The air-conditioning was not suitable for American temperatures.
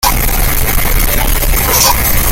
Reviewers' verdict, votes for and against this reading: rejected, 0, 2